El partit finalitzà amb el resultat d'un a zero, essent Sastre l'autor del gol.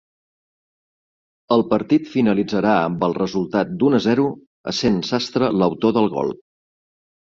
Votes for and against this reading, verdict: 1, 2, rejected